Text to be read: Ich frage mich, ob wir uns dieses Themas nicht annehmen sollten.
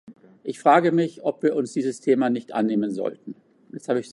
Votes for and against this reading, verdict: 0, 2, rejected